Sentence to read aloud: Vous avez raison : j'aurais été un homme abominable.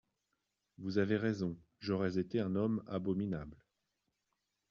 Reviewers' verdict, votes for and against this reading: accepted, 2, 0